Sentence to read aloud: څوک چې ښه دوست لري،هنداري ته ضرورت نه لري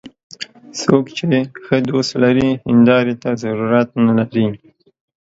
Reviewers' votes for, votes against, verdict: 2, 0, accepted